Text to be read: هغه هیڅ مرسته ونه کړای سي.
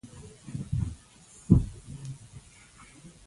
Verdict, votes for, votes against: rejected, 0, 2